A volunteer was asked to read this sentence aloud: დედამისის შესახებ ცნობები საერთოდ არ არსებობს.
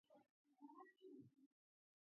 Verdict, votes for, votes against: rejected, 0, 2